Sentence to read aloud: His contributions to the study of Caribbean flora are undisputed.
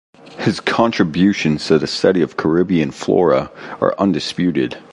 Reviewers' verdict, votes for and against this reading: accepted, 2, 1